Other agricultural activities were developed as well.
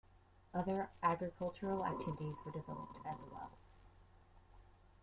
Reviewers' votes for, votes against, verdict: 1, 2, rejected